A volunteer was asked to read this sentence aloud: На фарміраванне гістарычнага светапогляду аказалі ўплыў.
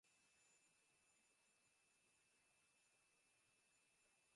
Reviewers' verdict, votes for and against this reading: rejected, 0, 2